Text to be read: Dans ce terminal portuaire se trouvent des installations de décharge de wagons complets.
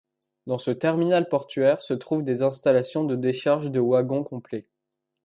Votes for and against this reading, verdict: 1, 2, rejected